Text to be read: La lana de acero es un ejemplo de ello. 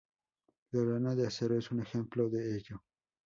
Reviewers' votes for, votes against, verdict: 4, 0, accepted